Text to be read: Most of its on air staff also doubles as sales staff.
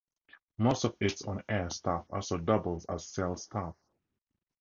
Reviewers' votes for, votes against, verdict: 2, 0, accepted